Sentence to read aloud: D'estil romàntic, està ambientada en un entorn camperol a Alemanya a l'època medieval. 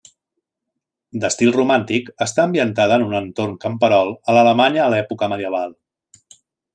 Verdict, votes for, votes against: accepted, 2, 1